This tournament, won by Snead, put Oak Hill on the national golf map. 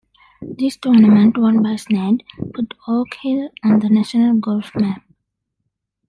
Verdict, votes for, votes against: accepted, 2, 1